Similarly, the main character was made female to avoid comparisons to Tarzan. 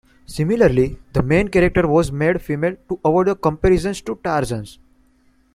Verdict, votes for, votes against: rejected, 0, 2